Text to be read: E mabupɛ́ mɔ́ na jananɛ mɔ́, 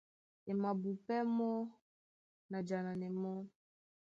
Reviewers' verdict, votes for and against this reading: accepted, 2, 0